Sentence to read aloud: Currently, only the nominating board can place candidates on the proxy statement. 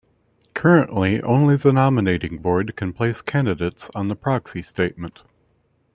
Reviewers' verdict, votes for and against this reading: accepted, 2, 0